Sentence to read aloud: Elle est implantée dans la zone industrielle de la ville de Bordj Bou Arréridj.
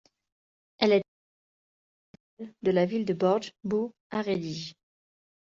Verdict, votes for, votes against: rejected, 0, 2